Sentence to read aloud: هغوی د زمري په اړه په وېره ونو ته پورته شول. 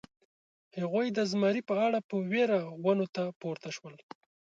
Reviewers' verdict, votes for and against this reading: accepted, 2, 1